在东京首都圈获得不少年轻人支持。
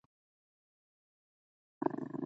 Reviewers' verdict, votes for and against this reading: rejected, 0, 4